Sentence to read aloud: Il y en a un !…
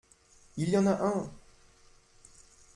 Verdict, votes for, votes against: accepted, 2, 0